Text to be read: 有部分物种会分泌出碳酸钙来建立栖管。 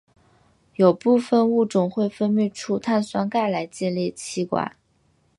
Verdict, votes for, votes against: accepted, 2, 1